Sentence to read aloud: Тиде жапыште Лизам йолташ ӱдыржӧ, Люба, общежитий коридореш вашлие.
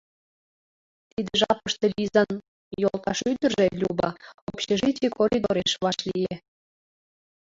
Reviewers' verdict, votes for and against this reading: rejected, 0, 2